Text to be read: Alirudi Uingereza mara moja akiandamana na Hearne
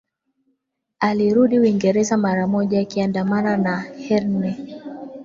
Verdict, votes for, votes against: accepted, 2, 0